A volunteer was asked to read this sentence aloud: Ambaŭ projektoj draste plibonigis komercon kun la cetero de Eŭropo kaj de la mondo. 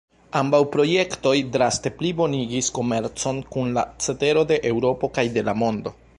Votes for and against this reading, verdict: 2, 1, accepted